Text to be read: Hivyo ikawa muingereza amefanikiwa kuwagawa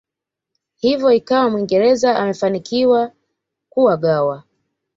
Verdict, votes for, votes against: accepted, 2, 1